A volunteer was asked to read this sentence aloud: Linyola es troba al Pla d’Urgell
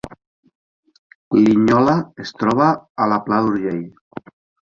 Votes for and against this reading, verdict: 1, 2, rejected